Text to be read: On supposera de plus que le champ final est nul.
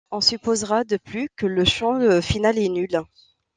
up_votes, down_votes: 1, 2